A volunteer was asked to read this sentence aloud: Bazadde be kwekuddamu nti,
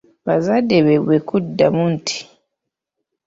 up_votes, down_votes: 1, 2